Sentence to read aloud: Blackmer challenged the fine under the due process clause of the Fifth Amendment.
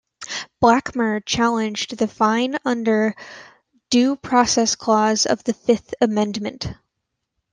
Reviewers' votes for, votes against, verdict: 0, 2, rejected